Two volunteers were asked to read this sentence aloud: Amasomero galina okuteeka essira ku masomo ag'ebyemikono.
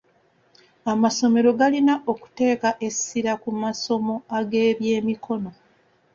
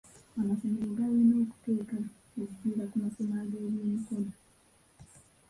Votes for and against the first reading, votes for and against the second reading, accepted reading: 2, 0, 1, 2, first